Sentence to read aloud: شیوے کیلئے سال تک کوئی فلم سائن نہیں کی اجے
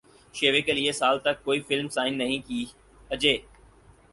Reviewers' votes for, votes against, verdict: 6, 0, accepted